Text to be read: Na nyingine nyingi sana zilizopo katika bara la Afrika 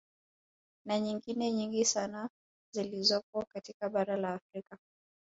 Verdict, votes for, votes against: rejected, 0, 2